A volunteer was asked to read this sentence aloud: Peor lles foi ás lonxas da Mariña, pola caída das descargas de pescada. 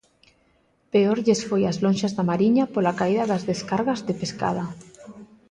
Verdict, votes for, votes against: rejected, 1, 2